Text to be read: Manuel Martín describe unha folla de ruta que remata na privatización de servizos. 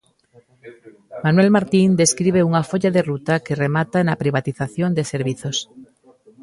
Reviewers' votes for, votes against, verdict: 1, 2, rejected